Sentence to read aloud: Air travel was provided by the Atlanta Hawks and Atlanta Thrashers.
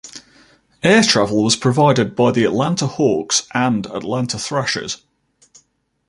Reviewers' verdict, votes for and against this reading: accepted, 2, 1